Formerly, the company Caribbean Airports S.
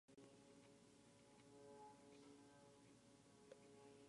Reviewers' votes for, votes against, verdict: 1, 2, rejected